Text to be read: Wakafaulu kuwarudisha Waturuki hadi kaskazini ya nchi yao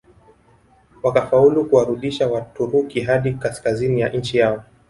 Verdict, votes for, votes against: rejected, 1, 2